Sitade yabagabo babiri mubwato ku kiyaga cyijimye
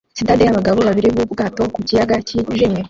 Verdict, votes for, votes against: rejected, 1, 2